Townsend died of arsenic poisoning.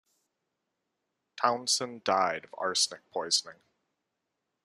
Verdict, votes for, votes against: accepted, 2, 0